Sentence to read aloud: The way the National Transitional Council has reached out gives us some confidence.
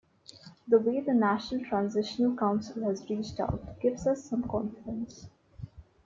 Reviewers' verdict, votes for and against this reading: accepted, 2, 1